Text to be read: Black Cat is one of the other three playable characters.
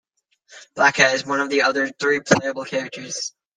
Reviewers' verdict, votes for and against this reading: rejected, 1, 2